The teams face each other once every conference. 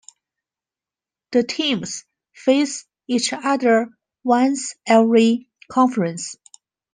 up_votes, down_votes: 2, 0